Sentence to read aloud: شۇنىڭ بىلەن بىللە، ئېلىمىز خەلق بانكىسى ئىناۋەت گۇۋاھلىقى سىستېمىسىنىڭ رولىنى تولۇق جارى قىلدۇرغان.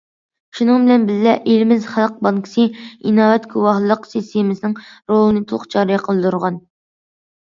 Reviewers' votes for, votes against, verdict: 1, 2, rejected